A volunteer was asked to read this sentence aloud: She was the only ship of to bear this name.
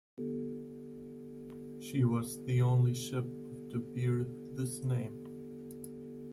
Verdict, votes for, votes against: rejected, 1, 2